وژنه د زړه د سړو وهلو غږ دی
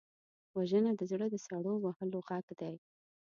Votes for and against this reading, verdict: 2, 0, accepted